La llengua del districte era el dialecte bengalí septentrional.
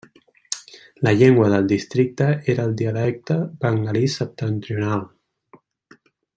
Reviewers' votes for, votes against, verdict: 2, 0, accepted